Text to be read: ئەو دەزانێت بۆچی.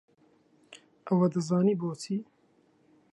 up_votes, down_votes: 0, 2